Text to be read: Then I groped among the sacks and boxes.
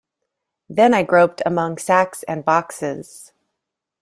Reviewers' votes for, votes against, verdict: 0, 2, rejected